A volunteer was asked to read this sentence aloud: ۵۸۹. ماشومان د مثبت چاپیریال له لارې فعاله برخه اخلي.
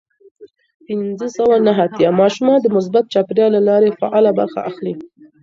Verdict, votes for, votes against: rejected, 0, 2